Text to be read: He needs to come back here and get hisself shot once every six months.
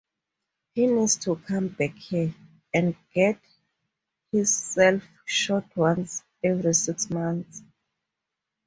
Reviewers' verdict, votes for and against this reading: rejected, 2, 2